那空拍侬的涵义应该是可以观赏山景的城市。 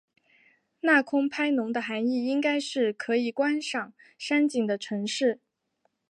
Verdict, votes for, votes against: accepted, 2, 0